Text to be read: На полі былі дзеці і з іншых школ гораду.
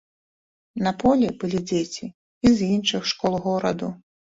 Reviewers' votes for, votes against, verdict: 2, 0, accepted